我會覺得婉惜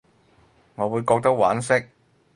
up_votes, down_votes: 0, 4